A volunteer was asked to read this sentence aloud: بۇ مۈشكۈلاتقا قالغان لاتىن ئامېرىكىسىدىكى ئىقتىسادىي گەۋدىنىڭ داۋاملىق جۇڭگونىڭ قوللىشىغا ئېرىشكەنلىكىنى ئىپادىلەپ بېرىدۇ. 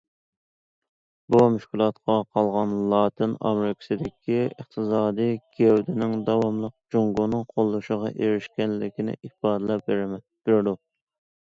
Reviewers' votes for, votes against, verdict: 0, 2, rejected